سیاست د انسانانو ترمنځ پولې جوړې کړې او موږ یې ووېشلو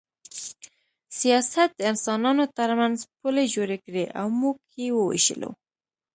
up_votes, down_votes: 2, 0